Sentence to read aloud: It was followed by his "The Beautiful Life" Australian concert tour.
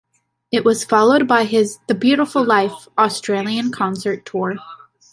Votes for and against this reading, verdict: 2, 0, accepted